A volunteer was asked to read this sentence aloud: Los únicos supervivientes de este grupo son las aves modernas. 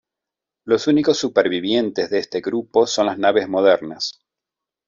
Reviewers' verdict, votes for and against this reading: rejected, 0, 2